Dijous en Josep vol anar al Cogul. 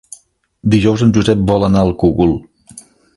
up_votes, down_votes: 2, 0